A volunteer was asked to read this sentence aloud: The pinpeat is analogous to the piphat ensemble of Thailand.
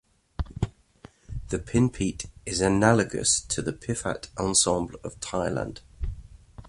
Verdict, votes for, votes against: accepted, 2, 0